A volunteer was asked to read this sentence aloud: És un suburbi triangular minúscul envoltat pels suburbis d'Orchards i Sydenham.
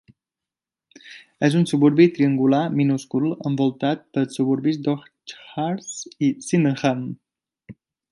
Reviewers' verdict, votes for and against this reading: accepted, 2, 0